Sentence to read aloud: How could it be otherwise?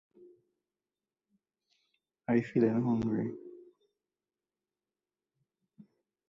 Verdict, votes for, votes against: rejected, 0, 2